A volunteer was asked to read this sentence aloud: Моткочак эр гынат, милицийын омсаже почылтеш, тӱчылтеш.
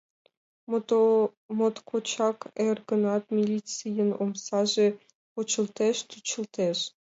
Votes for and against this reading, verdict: 1, 2, rejected